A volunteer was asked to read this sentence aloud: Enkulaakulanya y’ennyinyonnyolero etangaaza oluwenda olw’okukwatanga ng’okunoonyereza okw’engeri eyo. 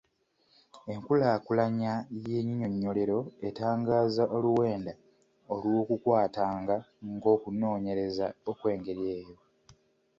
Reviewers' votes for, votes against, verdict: 2, 0, accepted